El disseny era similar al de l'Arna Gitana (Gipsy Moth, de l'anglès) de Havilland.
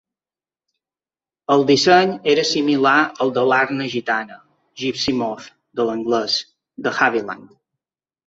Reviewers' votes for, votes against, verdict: 2, 0, accepted